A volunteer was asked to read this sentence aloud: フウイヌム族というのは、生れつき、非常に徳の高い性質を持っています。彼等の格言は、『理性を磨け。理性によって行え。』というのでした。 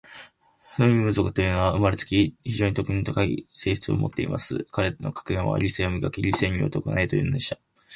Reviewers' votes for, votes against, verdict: 2, 0, accepted